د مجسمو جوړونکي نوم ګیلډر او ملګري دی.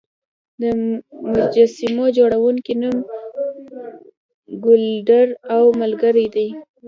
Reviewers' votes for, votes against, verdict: 1, 2, rejected